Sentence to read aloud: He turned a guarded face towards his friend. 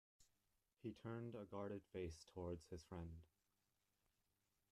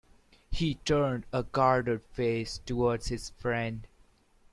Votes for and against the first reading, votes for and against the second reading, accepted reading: 2, 3, 2, 0, second